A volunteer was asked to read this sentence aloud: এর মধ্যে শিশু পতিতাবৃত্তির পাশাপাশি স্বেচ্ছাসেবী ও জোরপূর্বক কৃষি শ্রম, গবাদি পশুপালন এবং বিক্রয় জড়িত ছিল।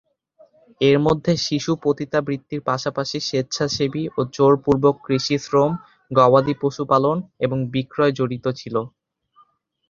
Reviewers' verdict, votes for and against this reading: accepted, 3, 0